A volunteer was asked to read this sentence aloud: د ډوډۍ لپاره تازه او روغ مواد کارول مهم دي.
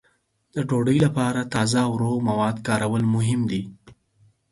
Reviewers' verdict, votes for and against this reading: accepted, 4, 0